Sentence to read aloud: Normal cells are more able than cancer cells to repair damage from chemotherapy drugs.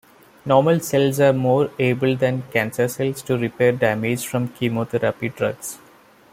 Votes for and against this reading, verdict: 2, 0, accepted